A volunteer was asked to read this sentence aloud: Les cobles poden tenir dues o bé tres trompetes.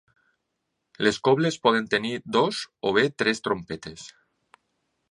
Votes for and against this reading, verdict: 1, 2, rejected